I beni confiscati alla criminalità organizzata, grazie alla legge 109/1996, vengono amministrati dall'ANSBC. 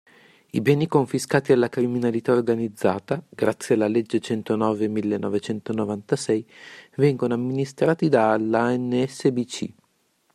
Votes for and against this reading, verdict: 0, 2, rejected